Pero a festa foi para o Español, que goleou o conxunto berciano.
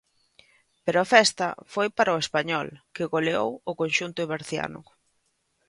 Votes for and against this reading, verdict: 2, 0, accepted